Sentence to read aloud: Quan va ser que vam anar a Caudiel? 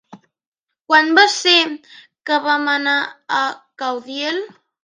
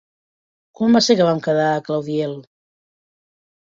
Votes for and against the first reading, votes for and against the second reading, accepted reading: 3, 0, 0, 2, first